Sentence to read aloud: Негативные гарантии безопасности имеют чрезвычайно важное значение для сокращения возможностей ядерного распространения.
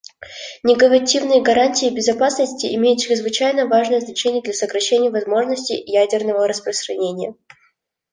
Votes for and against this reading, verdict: 0, 2, rejected